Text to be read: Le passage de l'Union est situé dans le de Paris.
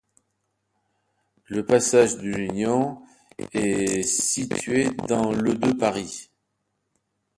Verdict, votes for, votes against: accepted, 2, 0